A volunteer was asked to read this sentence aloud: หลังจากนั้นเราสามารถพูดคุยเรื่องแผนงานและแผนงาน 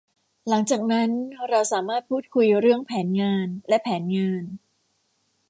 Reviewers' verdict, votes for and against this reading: accepted, 2, 0